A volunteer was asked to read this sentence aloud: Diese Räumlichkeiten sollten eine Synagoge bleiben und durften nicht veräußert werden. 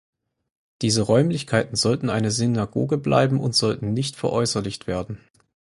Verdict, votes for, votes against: rejected, 0, 4